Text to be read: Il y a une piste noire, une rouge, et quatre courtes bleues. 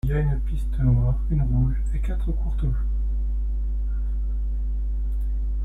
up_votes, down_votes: 0, 2